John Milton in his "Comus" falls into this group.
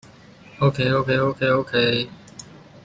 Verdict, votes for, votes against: rejected, 0, 2